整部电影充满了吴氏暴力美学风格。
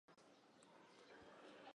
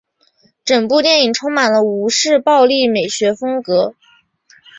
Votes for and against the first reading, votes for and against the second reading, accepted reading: 0, 2, 3, 1, second